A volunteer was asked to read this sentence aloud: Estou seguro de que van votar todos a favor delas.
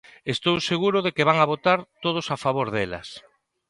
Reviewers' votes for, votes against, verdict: 1, 2, rejected